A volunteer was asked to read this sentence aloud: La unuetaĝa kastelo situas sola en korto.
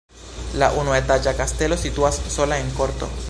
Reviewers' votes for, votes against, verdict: 3, 0, accepted